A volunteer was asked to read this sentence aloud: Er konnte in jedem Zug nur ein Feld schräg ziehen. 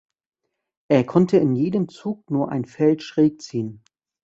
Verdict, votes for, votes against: accepted, 3, 0